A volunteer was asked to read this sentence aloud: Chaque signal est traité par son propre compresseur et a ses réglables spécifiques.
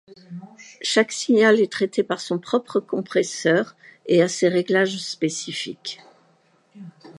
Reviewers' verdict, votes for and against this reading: accepted, 2, 0